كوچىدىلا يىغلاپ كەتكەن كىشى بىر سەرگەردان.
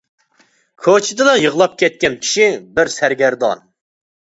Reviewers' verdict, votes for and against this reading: accepted, 2, 0